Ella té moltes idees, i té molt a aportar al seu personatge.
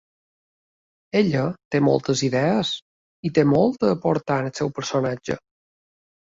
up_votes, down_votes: 2, 0